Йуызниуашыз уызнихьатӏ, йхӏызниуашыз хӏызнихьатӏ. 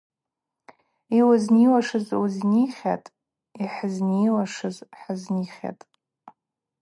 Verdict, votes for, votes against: accepted, 2, 0